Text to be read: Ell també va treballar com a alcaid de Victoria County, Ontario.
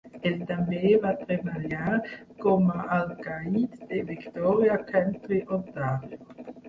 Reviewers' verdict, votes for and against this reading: accepted, 2, 0